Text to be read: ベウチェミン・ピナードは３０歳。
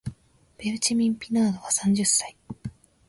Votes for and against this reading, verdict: 0, 2, rejected